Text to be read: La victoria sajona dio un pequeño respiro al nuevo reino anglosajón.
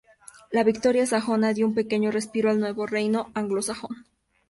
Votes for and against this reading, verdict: 4, 0, accepted